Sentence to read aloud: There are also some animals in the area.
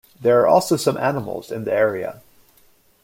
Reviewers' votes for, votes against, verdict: 2, 0, accepted